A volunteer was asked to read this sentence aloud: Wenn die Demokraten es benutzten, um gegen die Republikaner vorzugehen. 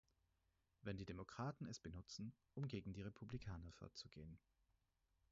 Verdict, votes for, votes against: rejected, 0, 4